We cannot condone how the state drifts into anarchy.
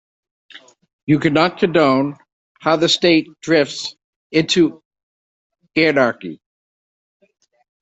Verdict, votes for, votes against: rejected, 0, 2